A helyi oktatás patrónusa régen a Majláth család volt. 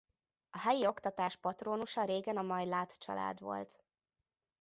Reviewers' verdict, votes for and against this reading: accepted, 2, 0